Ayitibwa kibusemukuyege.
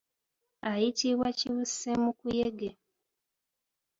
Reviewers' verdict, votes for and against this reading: accepted, 2, 1